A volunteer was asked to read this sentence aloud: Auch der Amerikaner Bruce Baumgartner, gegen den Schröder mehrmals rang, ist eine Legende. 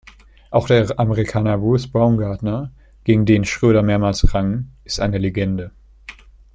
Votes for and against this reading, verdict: 2, 0, accepted